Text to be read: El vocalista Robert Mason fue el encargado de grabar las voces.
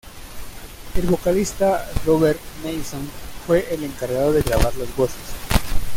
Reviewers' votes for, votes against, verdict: 2, 1, accepted